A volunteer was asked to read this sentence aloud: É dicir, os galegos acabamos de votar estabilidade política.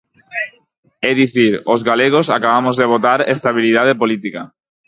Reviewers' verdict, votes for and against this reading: rejected, 2, 2